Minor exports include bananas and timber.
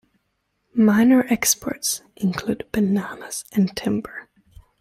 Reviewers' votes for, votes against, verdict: 2, 0, accepted